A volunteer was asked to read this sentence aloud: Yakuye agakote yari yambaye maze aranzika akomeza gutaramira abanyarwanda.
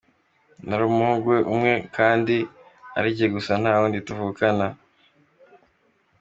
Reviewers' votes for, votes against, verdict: 0, 2, rejected